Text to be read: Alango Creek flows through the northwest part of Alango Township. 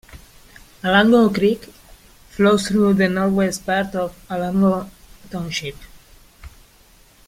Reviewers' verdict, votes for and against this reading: accepted, 2, 1